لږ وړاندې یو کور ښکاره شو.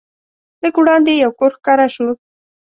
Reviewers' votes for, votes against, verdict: 2, 0, accepted